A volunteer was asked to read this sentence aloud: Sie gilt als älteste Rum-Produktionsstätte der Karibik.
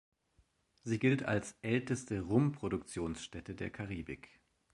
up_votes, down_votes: 2, 0